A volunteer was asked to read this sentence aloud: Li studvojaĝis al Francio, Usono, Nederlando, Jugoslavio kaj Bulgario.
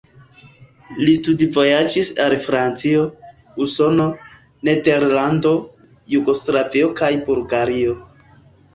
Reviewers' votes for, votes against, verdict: 0, 2, rejected